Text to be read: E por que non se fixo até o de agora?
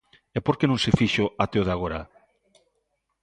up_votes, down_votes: 2, 0